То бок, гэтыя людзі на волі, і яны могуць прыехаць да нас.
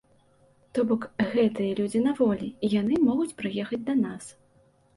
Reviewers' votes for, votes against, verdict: 2, 0, accepted